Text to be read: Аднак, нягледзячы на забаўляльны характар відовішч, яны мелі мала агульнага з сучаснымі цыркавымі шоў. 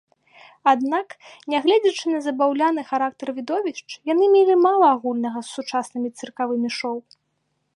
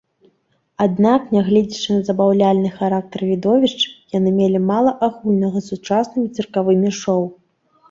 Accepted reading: second